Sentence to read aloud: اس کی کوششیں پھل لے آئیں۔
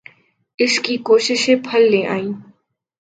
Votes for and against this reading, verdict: 4, 0, accepted